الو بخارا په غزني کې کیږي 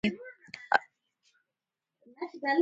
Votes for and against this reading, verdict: 1, 2, rejected